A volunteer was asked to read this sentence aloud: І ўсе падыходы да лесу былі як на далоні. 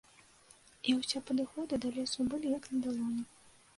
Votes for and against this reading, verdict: 1, 2, rejected